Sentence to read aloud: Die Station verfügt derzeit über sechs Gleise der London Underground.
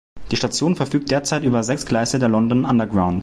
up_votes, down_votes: 2, 0